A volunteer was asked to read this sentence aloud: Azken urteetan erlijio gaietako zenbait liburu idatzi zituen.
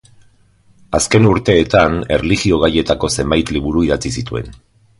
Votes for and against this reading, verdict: 2, 0, accepted